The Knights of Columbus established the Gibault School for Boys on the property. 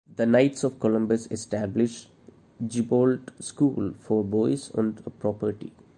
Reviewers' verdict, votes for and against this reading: rejected, 0, 2